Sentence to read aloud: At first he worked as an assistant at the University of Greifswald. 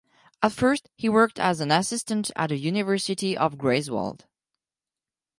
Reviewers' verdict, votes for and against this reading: rejected, 2, 4